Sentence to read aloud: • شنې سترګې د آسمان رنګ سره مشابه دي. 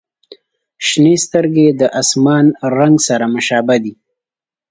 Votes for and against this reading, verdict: 3, 0, accepted